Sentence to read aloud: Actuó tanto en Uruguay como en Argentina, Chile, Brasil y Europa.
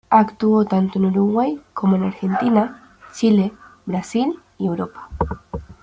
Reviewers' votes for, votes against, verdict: 2, 0, accepted